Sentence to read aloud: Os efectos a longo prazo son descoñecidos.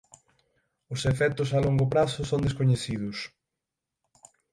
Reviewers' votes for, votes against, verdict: 3, 6, rejected